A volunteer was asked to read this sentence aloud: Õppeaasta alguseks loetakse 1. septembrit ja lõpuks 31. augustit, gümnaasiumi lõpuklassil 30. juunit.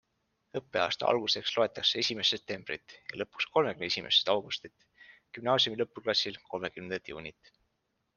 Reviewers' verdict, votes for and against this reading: rejected, 0, 2